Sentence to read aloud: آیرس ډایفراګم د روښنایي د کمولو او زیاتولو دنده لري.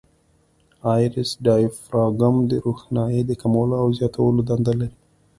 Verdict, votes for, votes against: accepted, 2, 0